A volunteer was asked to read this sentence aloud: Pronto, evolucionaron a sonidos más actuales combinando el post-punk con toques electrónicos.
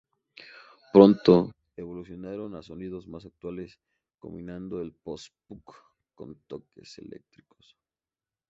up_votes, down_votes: 0, 2